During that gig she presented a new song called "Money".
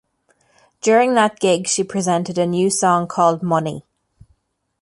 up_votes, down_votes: 2, 0